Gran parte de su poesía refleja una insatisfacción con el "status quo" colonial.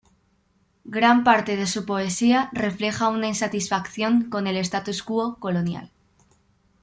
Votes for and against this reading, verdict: 2, 0, accepted